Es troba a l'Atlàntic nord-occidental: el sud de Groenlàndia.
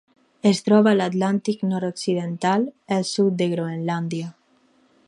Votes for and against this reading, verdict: 4, 0, accepted